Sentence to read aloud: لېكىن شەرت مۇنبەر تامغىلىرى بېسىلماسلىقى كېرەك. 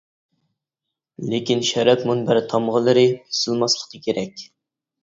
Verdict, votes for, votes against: rejected, 0, 2